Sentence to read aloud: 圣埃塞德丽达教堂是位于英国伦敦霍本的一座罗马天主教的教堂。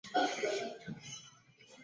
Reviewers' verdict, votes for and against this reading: rejected, 0, 2